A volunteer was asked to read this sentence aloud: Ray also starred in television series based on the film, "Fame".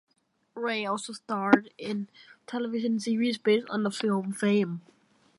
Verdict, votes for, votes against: accepted, 2, 0